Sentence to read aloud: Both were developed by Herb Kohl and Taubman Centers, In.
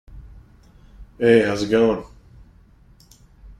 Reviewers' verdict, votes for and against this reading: rejected, 0, 2